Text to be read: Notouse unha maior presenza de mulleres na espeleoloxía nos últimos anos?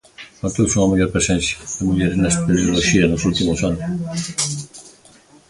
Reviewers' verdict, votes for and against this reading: accepted, 2, 0